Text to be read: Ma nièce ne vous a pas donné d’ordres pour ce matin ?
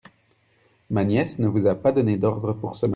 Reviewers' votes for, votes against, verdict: 1, 2, rejected